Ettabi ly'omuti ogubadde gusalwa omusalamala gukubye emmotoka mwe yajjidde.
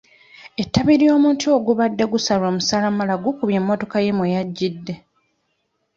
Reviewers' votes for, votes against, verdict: 1, 2, rejected